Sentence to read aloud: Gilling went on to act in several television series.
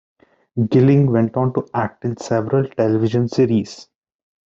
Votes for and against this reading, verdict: 2, 1, accepted